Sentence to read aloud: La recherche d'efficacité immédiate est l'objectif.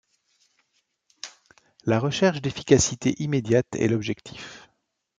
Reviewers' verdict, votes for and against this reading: accepted, 2, 0